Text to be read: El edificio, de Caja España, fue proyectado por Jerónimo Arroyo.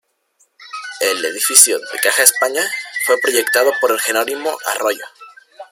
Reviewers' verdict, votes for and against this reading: rejected, 0, 2